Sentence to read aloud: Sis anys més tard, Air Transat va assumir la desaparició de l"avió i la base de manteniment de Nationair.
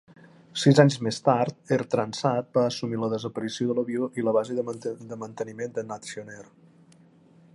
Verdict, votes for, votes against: rejected, 0, 2